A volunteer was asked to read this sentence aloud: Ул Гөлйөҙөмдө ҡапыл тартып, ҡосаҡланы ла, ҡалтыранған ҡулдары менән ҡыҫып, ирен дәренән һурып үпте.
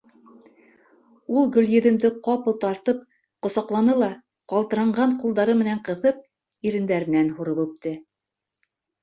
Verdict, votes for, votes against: accepted, 2, 0